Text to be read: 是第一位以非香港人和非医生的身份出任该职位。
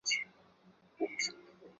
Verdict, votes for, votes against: rejected, 0, 2